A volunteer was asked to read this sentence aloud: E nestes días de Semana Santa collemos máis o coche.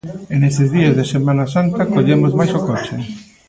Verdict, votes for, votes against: rejected, 1, 2